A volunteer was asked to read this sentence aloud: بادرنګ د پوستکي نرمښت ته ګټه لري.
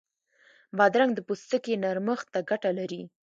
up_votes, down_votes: 2, 0